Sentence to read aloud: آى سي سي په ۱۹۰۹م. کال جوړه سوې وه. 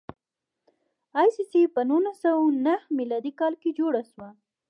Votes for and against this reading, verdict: 0, 2, rejected